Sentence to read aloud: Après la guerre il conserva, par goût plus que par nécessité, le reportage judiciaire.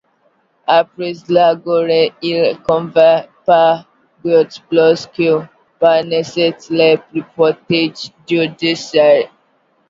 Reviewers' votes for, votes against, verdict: 0, 2, rejected